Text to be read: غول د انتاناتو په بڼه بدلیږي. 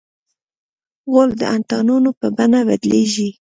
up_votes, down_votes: 1, 2